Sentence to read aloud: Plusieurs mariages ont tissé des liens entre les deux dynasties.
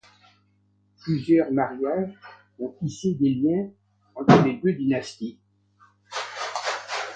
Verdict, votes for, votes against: accepted, 2, 0